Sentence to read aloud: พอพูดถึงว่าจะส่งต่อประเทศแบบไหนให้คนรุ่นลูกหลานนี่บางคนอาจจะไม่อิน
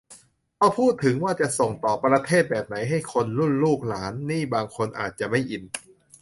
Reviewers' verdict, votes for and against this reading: accepted, 2, 0